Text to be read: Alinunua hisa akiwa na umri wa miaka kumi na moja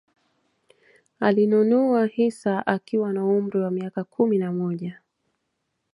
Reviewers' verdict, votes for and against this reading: accepted, 2, 0